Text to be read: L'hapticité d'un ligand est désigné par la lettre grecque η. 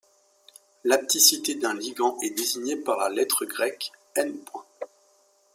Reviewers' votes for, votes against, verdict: 1, 2, rejected